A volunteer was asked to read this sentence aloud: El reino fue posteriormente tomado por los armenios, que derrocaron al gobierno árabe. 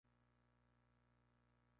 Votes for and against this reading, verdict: 0, 2, rejected